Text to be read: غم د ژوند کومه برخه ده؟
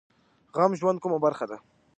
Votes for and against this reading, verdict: 2, 1, accepted